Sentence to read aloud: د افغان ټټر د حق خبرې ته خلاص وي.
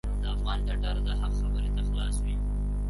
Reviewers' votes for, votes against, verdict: 0, 3, rejected